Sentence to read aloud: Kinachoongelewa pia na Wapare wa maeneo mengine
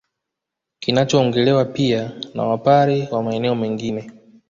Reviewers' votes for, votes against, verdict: 1, 2, rejected